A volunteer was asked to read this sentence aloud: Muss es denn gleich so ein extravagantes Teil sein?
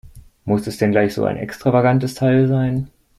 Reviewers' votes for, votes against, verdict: 2, 0, accepted